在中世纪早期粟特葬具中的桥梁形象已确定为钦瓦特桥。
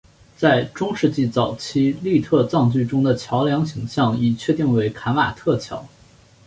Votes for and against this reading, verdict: 2, 1, accepted